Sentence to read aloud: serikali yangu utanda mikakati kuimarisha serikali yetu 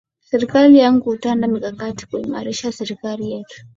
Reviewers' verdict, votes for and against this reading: rejected, 0, 2